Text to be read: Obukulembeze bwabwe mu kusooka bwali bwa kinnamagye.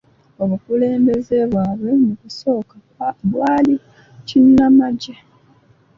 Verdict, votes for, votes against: rejected, 1, 2